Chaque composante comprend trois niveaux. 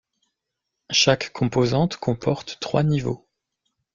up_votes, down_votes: 0, 2